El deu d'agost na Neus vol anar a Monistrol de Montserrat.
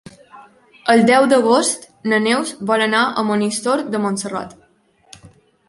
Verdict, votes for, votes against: rejected, 1, 2